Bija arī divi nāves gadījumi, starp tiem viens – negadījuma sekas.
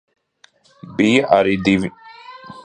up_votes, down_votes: 0, 2